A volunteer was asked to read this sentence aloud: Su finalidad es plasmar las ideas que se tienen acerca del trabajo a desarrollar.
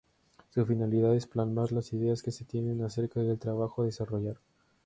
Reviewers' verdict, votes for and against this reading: rejected, 0, 2